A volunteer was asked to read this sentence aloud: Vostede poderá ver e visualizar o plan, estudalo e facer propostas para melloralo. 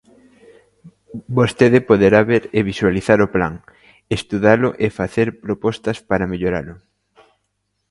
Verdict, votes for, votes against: accepted, 2, 0